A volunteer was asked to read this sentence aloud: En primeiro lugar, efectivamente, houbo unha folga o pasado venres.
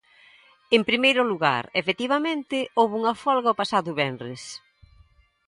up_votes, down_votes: 2, 0